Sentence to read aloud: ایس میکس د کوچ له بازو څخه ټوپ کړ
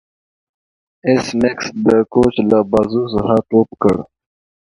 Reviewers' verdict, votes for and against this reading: accepted, 2, 0